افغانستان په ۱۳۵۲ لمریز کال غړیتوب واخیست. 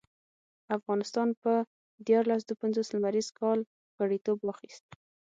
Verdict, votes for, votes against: rejected, 0, 2